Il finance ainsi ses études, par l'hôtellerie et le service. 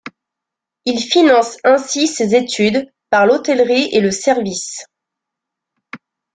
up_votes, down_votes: 2, 0